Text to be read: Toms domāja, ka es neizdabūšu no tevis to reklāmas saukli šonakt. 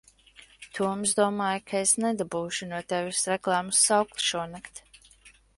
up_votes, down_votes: 1, 2